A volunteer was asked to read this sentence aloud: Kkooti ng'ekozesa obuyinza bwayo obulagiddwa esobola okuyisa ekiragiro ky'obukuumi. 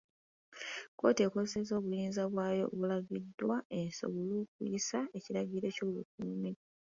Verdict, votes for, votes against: accepted, 2, 1